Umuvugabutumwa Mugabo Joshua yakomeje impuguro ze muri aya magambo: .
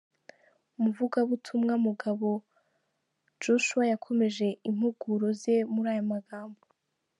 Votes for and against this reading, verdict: 2, 0, accepted